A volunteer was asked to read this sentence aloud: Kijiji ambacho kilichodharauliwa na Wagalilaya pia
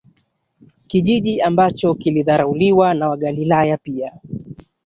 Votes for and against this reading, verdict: 1, 2, rejected